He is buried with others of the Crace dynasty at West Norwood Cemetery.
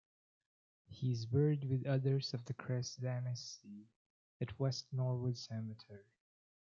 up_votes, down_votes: 1, 2